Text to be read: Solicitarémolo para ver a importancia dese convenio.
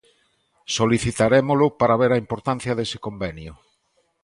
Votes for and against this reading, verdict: 2, 0, accepted